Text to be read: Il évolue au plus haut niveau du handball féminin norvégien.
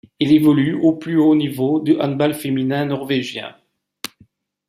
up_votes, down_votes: 2, 0